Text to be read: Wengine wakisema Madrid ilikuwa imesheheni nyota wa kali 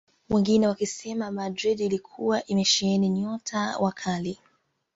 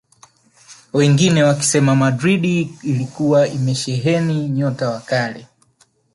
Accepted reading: second